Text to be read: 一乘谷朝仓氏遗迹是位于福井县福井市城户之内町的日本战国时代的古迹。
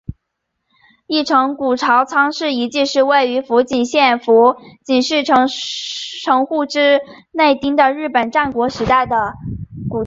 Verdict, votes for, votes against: accepted, 4, 0